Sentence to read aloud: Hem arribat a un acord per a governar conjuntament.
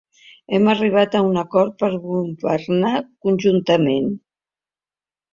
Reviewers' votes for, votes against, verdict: 2, 1, accepted